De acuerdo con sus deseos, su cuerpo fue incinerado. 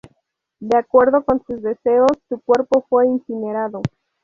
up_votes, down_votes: 2, 2